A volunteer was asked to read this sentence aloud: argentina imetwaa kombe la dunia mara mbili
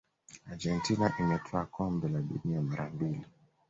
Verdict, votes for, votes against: accepted, 2, 0